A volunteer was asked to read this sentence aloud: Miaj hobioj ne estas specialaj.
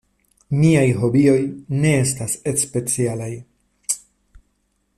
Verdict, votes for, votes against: rejected, 0, 2